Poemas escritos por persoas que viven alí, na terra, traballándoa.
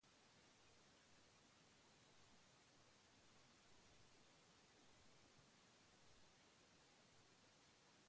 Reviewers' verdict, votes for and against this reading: rejected, 0, 2